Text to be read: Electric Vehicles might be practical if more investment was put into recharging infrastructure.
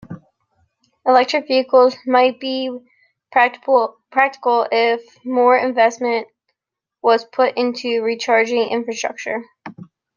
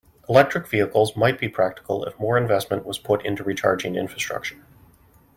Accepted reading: second